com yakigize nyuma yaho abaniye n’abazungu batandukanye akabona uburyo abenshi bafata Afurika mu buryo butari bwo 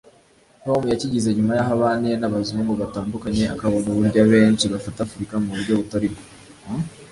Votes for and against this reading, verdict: 1, 2, rejected